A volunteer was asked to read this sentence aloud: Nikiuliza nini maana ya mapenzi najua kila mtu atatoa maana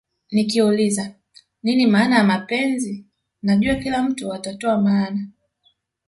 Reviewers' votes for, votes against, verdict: 4, 1, accepted